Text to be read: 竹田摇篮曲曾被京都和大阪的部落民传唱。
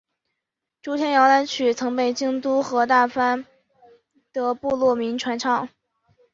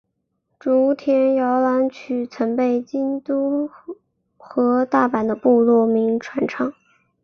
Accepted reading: second